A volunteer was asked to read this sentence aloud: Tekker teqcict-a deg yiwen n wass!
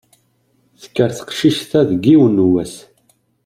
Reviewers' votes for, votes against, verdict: 2, 0, accepted